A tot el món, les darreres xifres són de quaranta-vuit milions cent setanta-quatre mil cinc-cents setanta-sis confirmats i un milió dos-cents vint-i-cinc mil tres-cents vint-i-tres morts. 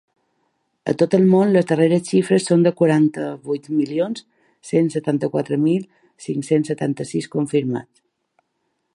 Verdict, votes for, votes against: rejected, 0, 2